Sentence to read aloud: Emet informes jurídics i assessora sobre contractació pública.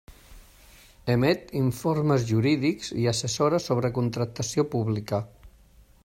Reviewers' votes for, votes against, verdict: 2, 0, accepted